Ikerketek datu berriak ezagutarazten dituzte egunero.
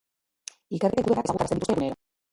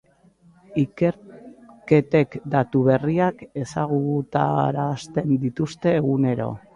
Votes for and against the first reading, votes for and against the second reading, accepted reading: 0, 2, 2, 0, second